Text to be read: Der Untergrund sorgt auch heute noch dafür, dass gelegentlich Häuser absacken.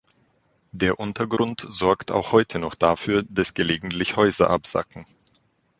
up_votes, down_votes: 3, 0